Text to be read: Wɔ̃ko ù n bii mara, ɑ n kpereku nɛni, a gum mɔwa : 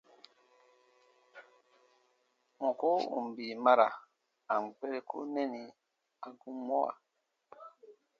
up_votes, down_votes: 0, 2